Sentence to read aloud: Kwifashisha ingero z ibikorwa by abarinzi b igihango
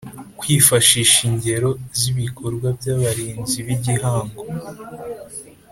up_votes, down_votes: 2, 0